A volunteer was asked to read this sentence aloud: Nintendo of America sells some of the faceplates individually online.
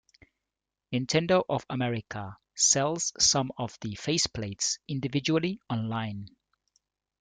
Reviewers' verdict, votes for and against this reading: rejected, 0, 2